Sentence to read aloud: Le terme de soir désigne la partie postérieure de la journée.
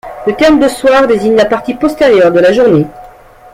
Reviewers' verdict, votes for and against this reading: accepted, 2, 0